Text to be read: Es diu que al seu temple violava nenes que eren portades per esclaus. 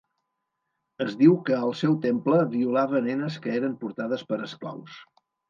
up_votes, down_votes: 4, 0